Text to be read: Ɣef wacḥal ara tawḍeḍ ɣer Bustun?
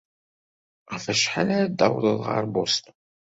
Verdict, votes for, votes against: rejected, 1, 2